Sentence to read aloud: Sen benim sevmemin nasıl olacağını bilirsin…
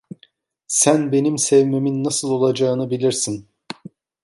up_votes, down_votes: 2, 0